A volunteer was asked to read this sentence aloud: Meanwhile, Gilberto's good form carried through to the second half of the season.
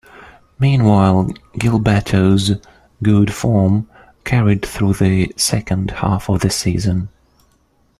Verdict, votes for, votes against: rejected, 1, 2